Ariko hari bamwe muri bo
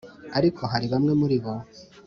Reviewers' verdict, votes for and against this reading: accepted, 2, 0